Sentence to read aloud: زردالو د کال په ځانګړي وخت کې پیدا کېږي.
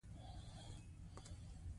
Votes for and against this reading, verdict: 2, 0, accepted